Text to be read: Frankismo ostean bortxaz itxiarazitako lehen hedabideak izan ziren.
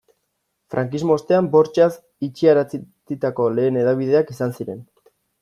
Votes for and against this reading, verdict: 1, 2, rejected